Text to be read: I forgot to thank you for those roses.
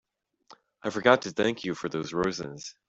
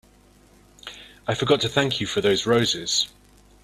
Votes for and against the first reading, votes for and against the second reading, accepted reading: 1, 2, 2, 0, second